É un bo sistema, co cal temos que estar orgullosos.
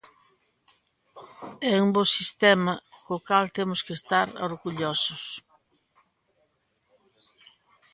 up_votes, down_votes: 2, 0